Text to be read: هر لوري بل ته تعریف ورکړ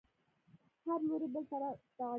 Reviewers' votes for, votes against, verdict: 1, 2, rejected